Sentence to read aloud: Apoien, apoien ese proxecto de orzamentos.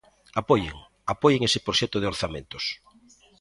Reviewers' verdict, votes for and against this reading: accepted, 3, 0